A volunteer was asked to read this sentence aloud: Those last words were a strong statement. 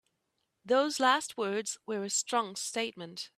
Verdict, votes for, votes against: accepted, 2, 0